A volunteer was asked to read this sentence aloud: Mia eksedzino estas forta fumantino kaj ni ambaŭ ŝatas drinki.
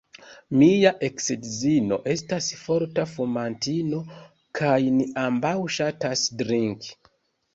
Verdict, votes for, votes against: accepted, 2, 0